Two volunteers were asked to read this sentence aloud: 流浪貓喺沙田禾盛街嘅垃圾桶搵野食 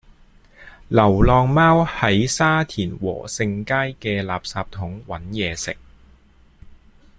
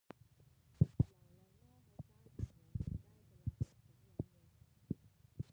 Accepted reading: first